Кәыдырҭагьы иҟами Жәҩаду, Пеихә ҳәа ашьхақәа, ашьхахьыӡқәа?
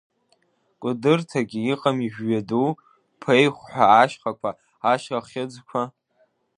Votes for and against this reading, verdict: 2, 1, accepted